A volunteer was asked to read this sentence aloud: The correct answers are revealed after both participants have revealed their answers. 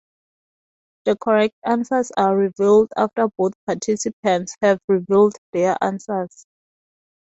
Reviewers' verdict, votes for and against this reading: accepted, 4, 0